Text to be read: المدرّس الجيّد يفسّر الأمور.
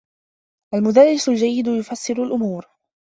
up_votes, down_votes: 2, 0